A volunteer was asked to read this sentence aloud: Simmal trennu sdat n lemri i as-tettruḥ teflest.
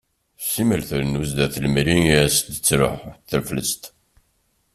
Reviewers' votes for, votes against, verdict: 1, 2, rejected